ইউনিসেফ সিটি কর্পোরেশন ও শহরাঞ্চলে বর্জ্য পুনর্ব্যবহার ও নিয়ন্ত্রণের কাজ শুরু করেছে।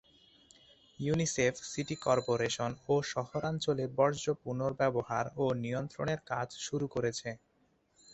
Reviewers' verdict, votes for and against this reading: rejected, 2, 2